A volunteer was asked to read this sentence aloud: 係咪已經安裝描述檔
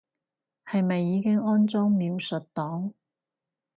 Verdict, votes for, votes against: accepted, 4, 0